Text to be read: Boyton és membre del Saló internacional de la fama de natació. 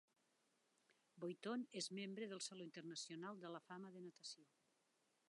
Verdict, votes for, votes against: rejected, 0, 2